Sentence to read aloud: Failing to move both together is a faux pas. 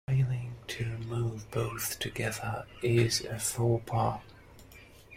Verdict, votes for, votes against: rejected, 1, 2